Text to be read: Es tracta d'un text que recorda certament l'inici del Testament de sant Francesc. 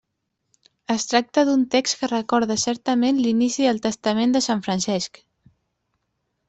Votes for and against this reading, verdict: 3, 0, accepted